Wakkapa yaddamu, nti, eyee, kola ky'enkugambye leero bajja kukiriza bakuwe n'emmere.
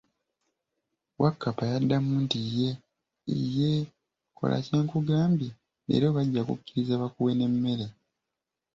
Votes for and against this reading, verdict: 1, 2, rejected